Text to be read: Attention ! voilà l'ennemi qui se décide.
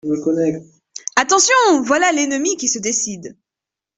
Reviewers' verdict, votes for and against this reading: rejected, 1, 2